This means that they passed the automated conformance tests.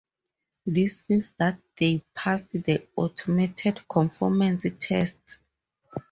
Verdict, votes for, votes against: rejected, 0, 2